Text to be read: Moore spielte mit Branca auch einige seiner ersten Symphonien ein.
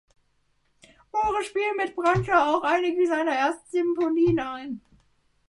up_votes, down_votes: 0, 2